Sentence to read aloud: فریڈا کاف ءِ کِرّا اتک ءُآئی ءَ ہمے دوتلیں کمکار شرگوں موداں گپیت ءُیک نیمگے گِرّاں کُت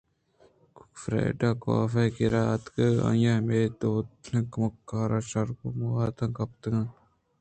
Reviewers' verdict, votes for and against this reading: rejected, 1, 2